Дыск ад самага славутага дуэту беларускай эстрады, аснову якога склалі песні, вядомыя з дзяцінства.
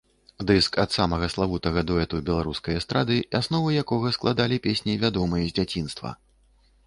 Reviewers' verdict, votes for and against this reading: rejected, 0, 2